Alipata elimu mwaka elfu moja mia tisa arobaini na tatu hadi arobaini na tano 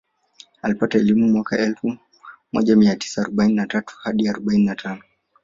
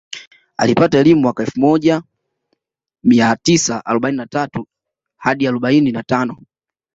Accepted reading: second